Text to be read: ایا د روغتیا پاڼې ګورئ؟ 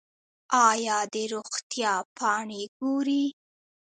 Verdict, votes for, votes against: rejected, 1, 2